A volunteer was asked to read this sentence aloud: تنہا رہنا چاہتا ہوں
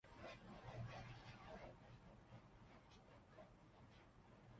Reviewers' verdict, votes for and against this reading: rejected, 0, 2